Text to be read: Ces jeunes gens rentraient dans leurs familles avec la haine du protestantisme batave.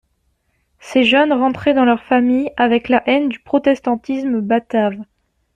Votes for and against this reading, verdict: 1, 2, rejected